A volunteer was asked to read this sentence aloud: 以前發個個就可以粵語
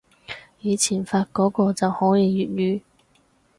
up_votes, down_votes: 0, 4